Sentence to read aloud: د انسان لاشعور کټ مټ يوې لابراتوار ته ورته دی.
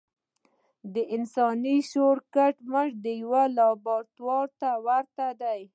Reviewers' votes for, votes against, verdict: 2, 0, accepted